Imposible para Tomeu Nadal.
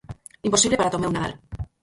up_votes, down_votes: 2, 4